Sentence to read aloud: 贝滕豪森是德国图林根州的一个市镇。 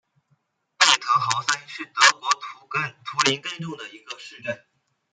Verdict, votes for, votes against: rejected, 1, 2